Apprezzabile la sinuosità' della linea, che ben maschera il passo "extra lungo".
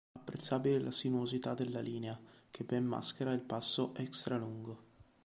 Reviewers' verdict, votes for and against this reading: accepted, 2, 0